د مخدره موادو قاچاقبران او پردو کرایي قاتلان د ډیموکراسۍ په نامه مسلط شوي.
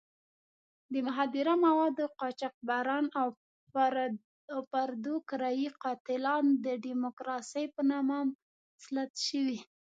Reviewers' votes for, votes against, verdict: 0, 2, rejected